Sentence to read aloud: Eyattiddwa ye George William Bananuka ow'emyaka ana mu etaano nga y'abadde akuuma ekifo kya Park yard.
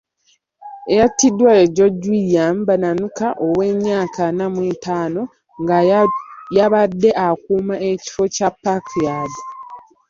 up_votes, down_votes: 2, 1